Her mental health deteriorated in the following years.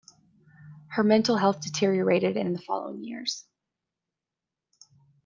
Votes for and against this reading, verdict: 2, 0, accepted